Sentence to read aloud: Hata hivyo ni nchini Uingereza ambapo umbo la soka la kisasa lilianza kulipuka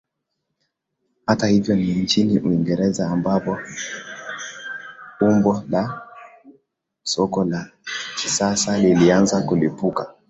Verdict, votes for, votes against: accepted, 8, 2